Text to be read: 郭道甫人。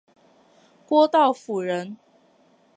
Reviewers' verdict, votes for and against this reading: accepted, 3, 0